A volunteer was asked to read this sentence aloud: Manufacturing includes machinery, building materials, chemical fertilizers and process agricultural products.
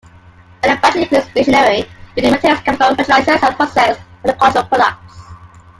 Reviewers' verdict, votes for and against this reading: rejected, 1, 2